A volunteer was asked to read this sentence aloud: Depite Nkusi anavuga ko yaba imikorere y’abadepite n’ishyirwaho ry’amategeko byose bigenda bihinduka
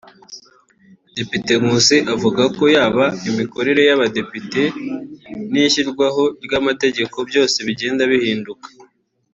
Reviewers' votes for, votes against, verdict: 2, 3, rejected